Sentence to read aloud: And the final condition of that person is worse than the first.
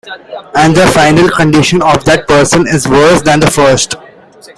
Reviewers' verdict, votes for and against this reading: accepted, 2, 1